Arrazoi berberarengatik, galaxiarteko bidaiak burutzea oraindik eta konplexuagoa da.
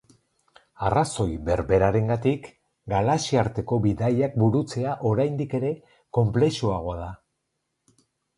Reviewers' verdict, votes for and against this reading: rejected, 2, 2